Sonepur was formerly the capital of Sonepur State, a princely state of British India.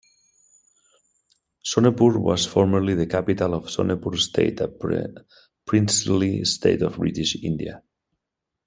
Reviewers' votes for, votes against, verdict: 2, 1, accepted